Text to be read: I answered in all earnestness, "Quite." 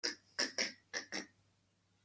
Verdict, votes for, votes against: rejected, 0, 2